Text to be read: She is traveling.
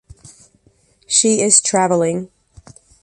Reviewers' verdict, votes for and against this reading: accepted, 2, 1